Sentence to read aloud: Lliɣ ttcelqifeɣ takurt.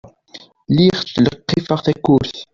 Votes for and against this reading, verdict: 0, 2, rejected